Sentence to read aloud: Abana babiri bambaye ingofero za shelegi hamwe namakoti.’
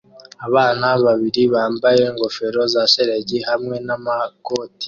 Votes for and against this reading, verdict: 2, 0, accepted